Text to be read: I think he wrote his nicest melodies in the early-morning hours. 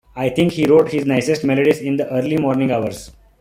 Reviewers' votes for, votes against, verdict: 2, 0, accepted